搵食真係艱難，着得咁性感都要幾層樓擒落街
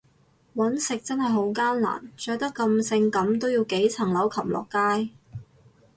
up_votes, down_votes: 2, 2